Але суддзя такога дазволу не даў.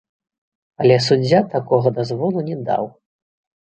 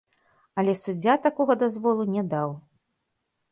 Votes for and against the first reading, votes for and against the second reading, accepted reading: 2, 1, 1, 2, first